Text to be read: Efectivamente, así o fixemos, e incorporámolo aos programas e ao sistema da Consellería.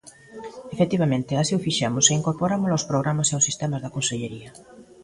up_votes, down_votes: 2, 0